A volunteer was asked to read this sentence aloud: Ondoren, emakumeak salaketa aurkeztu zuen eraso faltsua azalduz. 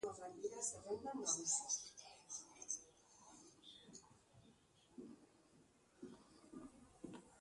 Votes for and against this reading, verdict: 0, 3, rejected